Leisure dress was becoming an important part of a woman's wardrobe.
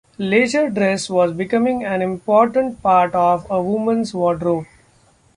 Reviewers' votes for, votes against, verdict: 2, 0, accepted